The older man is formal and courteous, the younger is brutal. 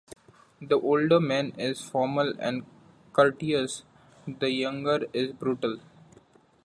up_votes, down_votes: 1, 2